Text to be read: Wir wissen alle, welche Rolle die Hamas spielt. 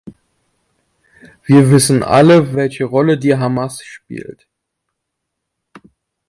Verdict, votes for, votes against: accepted, 2, 0